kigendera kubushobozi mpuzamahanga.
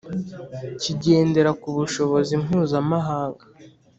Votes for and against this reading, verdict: 2, 0, accepted